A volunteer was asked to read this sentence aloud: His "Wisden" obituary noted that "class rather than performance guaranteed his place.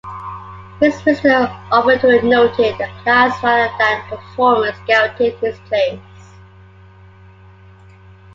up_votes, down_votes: 1, 2